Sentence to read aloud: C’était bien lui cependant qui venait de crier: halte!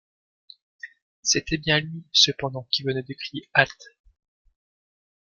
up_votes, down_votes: 1, 2